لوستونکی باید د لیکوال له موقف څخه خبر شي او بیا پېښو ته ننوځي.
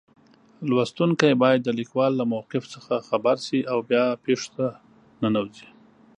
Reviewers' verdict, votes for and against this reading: accepted, 2, 0